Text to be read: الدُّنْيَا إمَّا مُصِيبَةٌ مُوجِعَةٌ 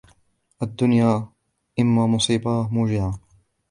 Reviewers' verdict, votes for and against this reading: accepted, 3, 0